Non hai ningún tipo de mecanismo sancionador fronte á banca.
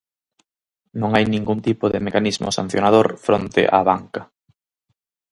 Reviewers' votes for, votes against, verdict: 4, 0, accepted